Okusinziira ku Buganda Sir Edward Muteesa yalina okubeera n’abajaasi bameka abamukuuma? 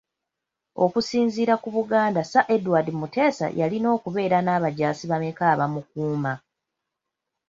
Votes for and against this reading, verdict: 2, 0, accepted